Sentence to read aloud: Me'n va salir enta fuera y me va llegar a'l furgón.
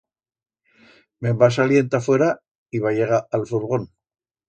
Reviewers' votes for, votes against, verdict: 1, 2, rejected